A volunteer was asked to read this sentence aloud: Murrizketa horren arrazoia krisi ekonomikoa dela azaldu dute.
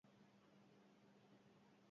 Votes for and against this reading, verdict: 0, 4, rejected